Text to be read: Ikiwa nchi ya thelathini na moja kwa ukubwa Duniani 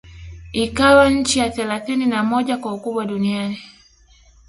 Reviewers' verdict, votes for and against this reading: rejected, 0, 2